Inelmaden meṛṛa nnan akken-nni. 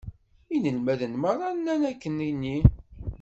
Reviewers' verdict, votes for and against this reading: accepted, 2, 1